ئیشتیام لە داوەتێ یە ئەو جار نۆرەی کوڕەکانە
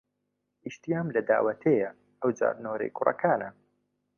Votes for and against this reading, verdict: 2, 0, accepted